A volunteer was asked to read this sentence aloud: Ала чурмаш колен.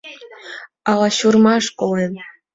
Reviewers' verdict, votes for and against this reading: accepted, 2, 0